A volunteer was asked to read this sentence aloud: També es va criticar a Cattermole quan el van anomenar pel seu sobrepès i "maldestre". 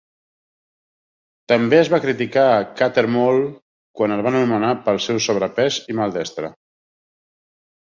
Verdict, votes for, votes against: accepted, 2, 0